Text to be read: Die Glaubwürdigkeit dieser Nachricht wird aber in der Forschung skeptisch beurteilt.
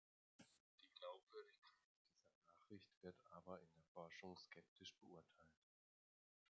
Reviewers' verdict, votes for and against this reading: rejected, 1, 2